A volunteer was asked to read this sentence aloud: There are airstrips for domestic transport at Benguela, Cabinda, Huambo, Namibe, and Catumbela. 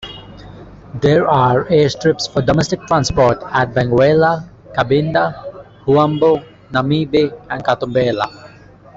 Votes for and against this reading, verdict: 1, 2, rejected